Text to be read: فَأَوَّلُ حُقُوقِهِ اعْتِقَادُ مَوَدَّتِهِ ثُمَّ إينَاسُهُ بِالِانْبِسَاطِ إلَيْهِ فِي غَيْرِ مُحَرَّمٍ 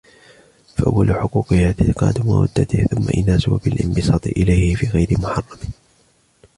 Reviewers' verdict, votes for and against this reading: rejected, 0, 2